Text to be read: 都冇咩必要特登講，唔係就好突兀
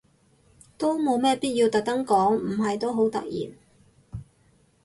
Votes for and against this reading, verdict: 2, 4, rejected